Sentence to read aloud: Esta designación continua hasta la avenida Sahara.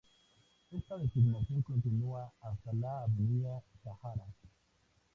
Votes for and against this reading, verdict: 2, 0, accepted